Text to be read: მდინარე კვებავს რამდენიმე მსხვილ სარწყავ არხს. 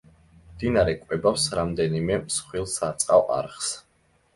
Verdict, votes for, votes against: accepted, 2, 0